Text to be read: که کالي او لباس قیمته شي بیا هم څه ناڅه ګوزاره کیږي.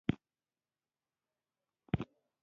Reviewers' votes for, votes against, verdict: 0, 2, rejected